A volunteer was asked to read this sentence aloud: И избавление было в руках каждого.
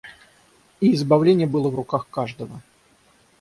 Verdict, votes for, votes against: accepted, 3, 0